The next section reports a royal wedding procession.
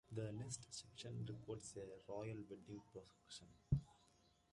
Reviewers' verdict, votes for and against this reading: rejected, 1, 2